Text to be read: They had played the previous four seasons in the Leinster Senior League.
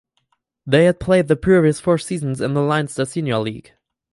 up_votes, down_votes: 2, 4